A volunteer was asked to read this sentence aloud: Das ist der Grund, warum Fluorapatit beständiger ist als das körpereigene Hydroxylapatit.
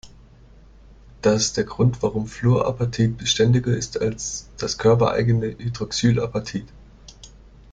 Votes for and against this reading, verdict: 2, 1, accepted